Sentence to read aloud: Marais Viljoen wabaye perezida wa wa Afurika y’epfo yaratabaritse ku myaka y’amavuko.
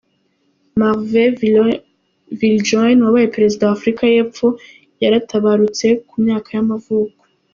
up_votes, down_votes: 1, 2